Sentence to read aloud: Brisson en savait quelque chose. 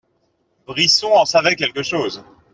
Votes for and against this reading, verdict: 2, 0, accepted